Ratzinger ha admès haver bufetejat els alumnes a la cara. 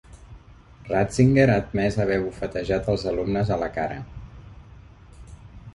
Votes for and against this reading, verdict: 2, 0, accepted